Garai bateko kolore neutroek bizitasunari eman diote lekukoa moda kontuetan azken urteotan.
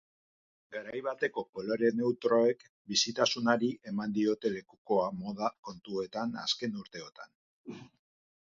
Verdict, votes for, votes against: rejected, 2, 2